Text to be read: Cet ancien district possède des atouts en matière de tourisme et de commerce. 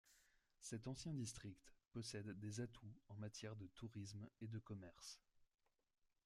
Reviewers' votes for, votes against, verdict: 1, 2, rejected